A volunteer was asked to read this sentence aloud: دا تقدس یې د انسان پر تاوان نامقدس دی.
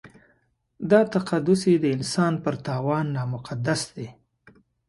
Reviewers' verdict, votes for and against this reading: accepted, 6, 0